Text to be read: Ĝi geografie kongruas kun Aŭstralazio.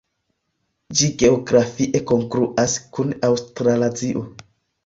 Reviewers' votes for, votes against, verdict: 2, 0, accepted